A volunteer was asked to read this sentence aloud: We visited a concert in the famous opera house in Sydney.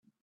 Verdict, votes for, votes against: rejected, 0, 2